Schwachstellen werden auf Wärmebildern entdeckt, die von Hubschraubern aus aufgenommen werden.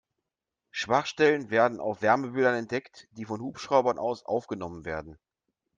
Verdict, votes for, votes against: accepted, 2, 0